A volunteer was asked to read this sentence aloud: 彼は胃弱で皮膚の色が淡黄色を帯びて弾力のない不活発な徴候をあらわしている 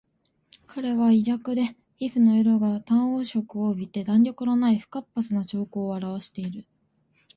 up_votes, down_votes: 2, 0